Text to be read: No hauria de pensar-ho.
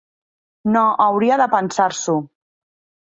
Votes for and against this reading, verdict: 0, 2, rejected